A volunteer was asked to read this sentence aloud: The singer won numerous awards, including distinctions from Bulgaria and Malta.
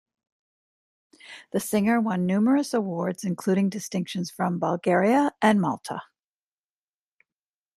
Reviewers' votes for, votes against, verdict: 2, 1, accepted